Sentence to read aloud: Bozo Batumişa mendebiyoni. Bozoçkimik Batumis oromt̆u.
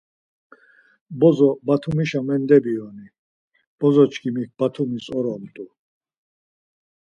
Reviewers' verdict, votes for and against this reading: accepted, 4, 0